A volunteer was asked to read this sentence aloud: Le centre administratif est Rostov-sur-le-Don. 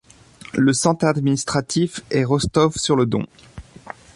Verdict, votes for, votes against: rejected, 0, 2